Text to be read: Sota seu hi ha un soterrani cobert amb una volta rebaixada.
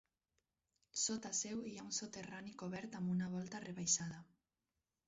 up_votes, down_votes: 4, 2